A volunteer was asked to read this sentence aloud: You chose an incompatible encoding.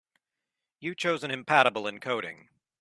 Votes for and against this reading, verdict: 0, 2, rejected